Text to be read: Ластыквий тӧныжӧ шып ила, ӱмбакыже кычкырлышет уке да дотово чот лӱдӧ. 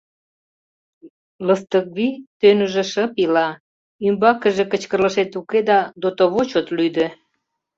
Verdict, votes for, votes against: rejected, 0, 2